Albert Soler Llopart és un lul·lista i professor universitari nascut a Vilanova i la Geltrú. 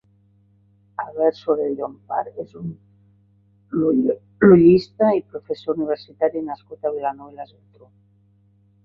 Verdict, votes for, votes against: rejected, 0, 3